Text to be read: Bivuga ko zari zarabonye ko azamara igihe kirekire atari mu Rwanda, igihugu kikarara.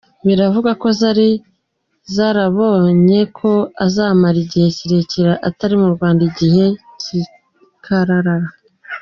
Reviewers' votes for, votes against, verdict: 0, 2, rejected